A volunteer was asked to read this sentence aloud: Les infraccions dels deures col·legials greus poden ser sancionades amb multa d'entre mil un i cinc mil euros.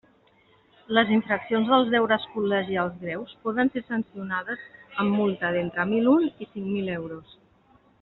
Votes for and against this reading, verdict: 1, 2, rejected